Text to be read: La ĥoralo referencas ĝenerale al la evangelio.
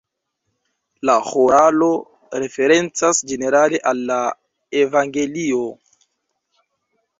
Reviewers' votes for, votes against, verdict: 1, 2, rejected